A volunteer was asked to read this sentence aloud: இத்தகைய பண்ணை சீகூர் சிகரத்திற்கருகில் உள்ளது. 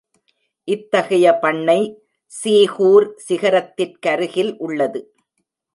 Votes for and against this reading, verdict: 2, 0, accepted